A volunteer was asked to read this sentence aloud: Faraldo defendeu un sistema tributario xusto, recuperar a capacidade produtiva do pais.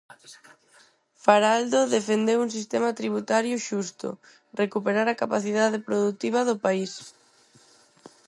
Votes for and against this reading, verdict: 2, 2, rejected